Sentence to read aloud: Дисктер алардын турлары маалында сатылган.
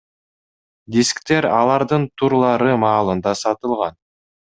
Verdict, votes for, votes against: accepted, 2, 0